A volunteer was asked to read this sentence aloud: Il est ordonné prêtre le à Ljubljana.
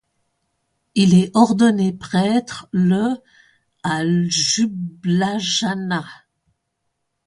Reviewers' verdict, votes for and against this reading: rejected, 0, 2